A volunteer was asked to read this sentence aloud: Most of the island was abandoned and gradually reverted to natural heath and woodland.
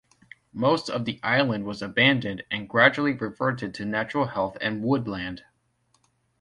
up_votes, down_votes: 2, 1